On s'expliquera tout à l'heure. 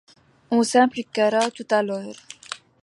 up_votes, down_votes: 0, 2